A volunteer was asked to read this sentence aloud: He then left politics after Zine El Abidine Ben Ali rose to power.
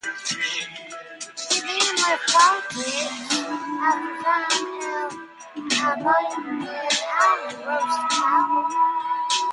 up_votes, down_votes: 0, 2